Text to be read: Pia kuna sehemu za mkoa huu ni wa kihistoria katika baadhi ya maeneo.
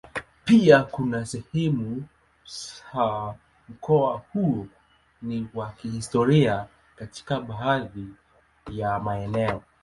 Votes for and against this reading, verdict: 2, 1, accepted